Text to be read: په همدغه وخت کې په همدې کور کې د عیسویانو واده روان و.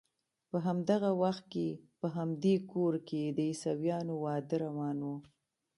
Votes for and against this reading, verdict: 2, 1, accepted